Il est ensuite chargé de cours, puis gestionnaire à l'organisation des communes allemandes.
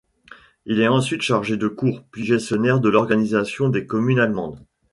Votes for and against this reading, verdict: 1, 2, rejected